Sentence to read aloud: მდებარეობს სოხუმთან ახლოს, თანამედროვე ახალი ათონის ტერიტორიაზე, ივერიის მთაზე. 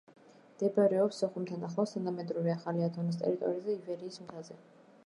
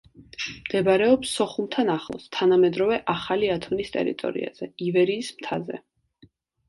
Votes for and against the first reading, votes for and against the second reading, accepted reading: 0, 2, 2, 0, second